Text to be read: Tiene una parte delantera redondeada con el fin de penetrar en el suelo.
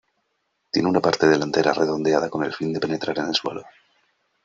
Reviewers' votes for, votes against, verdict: 1, 2, rejected